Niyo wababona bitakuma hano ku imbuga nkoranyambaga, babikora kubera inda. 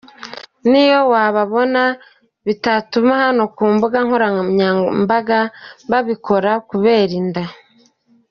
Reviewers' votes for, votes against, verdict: 1, 2, rejected